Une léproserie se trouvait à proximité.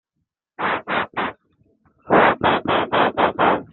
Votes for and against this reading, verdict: 0, 2, rejected